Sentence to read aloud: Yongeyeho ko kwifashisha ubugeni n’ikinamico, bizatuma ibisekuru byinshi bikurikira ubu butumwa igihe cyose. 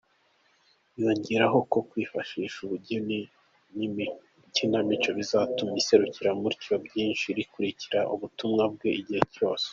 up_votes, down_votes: 0, 2